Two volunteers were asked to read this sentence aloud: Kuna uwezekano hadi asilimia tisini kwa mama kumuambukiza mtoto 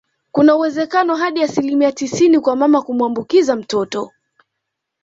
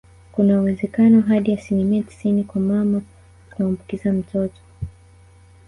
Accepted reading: first